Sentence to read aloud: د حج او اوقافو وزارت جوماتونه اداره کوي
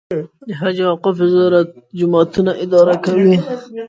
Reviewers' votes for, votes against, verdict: 0, 2, rejected